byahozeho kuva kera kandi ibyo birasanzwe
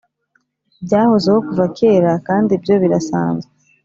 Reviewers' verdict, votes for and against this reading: accepted, 4, 0